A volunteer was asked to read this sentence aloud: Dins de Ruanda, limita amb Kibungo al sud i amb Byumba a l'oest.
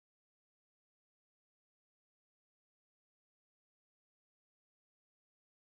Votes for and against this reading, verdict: 0, 2, rejected